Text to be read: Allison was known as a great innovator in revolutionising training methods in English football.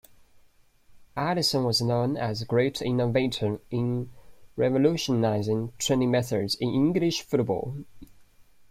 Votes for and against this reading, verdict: 2, 1, accepted